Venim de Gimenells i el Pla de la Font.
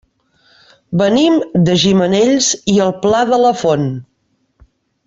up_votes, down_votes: 2, 0